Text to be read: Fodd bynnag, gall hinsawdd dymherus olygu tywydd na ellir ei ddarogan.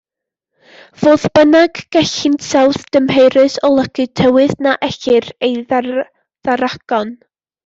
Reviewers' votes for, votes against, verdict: 0, 2, rejected